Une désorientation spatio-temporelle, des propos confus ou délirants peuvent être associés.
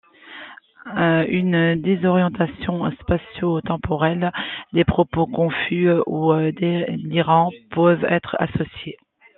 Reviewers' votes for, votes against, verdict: 1, 2, rejected